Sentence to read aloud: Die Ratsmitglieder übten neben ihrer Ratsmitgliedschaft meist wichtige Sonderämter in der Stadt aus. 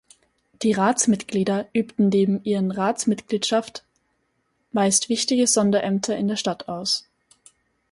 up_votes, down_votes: 2, 2